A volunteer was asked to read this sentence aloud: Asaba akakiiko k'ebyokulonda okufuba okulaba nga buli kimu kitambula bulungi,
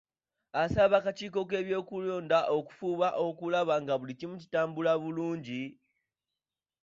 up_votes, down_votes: 0, 2